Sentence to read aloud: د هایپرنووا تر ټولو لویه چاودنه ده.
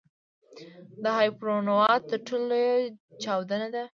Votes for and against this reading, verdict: 1, 2, rejected